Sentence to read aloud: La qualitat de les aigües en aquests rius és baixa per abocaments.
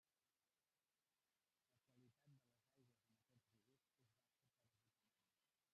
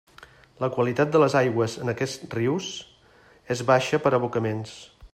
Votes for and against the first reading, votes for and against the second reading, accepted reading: 0, 2, 2, 1, second